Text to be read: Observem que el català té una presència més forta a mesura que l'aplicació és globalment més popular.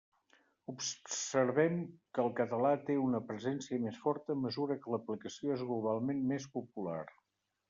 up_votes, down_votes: 1, 2